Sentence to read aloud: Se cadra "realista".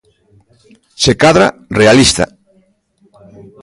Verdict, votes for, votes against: rejected, 1, 2